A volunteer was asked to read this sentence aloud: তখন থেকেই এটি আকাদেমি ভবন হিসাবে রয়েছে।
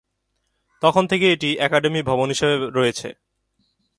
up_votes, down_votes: 2, 1